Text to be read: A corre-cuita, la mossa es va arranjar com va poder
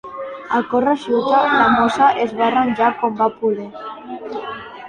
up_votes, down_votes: 2, 1